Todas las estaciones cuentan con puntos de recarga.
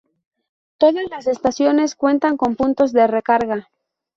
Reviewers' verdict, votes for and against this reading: accepted, 2, 0